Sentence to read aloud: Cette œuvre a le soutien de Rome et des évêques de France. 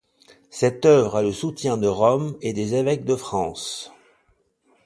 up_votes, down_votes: 2, 0